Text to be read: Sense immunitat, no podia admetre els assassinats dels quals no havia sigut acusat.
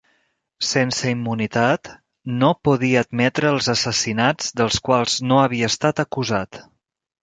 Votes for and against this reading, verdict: 0, 2, rejected